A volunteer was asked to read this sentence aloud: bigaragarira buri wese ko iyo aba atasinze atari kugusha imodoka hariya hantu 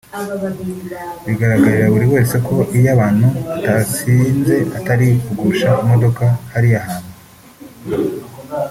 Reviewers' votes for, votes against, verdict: 1, 2, rejected